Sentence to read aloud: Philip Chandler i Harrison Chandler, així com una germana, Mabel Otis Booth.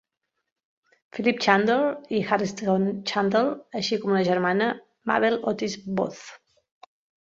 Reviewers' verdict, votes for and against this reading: rejected, 1, 2